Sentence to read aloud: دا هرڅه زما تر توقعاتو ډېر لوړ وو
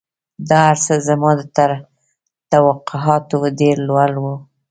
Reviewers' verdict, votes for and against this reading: accepted, 2, 0